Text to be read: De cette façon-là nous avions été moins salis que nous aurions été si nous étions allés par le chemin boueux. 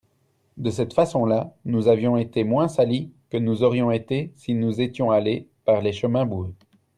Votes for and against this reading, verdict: 1, 2, rejected